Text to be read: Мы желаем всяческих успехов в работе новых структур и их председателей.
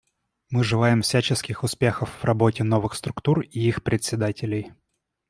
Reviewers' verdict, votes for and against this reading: accepted, 2, 0